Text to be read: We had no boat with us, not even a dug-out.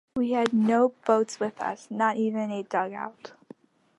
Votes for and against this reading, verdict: 1, 2, rejected